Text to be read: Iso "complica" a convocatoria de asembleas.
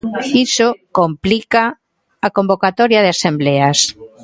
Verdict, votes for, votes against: accepted, 2, 0